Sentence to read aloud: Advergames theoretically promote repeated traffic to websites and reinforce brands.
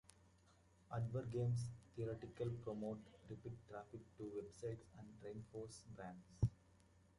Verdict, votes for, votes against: rejected, 0, 2